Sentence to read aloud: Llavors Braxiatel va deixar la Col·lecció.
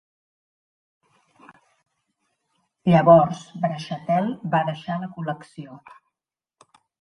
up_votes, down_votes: 2, 0